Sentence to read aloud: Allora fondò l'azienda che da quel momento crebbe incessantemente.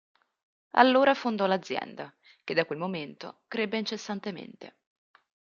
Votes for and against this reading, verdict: 2, 0, accepted